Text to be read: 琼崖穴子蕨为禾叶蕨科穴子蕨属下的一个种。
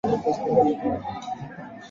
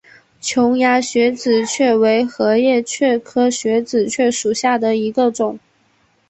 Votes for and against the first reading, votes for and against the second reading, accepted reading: 3, 5, 6, 1, second